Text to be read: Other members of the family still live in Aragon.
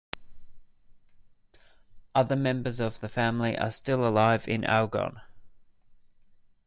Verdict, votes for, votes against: rejected, 0, 2